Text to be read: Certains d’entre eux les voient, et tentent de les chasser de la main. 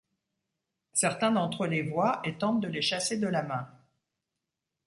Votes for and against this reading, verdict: 2, 0, accepted